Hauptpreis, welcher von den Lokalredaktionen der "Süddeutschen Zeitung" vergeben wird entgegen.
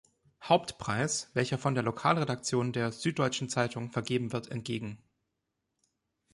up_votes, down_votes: 1, 2